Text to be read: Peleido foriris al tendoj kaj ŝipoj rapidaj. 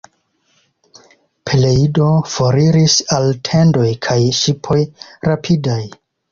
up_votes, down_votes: 2, 1